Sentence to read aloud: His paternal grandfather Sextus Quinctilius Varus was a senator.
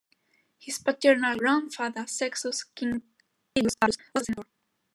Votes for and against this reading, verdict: 0, 2, rejected